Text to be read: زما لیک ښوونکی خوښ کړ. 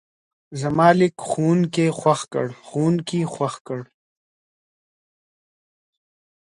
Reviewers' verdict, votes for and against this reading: accepted, 2, 0